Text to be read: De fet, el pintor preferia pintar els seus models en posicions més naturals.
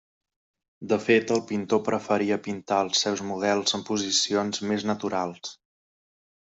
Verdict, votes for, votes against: accepted, 3, 0